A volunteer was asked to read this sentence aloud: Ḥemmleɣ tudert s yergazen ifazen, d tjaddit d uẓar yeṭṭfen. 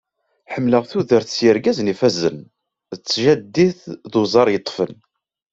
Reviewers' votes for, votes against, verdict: 2, 0, accepted